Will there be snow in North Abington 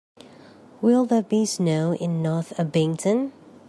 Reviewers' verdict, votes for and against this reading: accepted, 2, 0